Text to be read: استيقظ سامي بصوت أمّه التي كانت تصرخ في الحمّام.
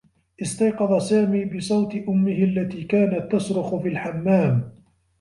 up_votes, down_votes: 1, 2